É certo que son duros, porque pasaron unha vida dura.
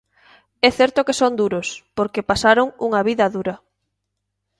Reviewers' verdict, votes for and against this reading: accepted, 2, 0